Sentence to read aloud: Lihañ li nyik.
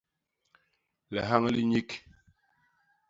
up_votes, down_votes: 2, 0